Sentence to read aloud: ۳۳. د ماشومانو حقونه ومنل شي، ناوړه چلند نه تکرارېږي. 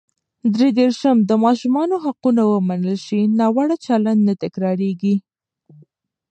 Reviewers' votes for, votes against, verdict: 0, 2, rejected